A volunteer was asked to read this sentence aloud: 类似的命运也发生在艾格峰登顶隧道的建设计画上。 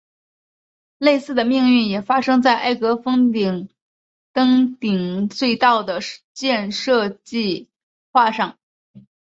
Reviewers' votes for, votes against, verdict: 0, 2, rejected